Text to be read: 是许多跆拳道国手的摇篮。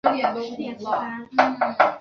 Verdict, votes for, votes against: rejected, 0, 2